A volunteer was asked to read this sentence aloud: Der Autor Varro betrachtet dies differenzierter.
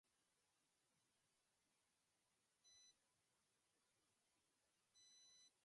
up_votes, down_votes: 0, 2